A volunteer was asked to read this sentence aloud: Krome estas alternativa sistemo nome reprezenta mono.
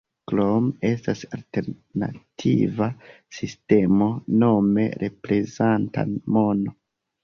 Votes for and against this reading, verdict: 1, 2, rejected